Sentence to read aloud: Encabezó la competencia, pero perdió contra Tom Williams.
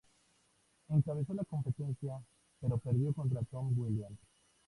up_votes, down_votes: 2, 0